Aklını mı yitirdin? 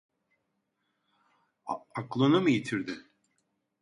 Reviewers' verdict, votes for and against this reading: rejected, 0, 2